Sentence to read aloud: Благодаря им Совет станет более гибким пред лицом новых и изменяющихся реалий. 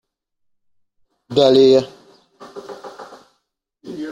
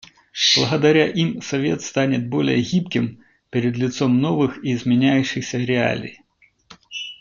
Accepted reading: second